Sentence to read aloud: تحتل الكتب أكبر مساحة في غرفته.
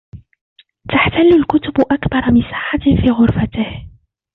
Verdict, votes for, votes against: rejected, 1, 2